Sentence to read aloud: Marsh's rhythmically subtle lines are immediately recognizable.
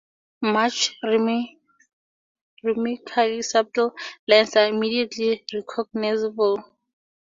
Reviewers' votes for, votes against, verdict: 0, 2, rejected